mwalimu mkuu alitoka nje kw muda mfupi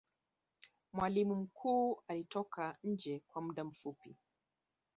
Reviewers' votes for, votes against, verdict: 1, 2, rejected